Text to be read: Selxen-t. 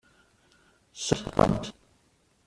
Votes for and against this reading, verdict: 0, 2, rejected